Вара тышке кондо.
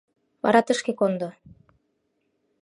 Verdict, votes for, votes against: accepted, 2, 0